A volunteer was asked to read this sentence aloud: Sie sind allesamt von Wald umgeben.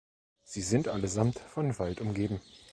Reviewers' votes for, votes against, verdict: 2, 0, accepted